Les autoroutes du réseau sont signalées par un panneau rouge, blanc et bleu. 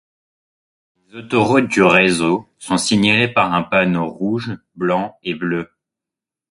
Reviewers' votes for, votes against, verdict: 2, 0, accepted